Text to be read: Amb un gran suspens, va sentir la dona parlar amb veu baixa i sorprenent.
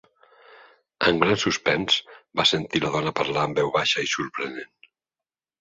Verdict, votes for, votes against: rejected, 1, 2